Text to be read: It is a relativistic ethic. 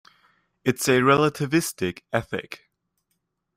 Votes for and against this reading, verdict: 0, 2, rejected